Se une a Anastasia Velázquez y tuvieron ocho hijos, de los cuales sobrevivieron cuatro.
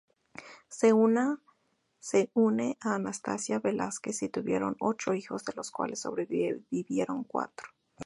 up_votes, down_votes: 0, 2